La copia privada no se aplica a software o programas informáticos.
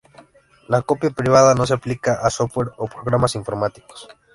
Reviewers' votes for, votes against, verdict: 2, 0, accepted